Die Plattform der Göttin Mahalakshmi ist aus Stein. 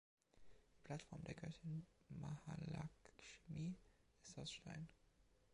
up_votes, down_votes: 2, 1